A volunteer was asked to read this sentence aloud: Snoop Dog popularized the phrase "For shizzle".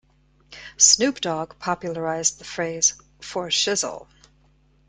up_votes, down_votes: 2, 0